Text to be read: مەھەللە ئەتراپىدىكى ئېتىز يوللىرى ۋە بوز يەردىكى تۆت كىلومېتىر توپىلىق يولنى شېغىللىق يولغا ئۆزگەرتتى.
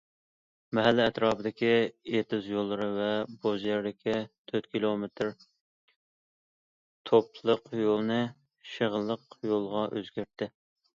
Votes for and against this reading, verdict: 2, 1, accepted